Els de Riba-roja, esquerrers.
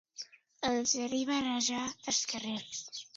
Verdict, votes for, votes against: accepted, 2, 0